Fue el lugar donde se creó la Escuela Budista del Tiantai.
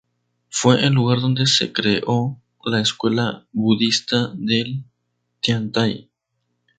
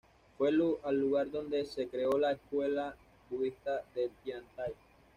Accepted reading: first